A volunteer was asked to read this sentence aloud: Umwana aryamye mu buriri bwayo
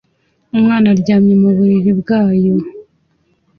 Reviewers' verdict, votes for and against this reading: accepted, 2, 0